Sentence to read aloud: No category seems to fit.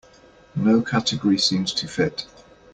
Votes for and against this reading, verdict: 2, 0, accepted